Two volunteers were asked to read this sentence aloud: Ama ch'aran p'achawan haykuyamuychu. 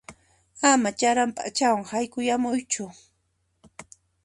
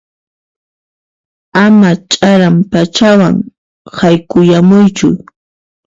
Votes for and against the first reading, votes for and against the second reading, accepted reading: 2, 0, 1, 2, first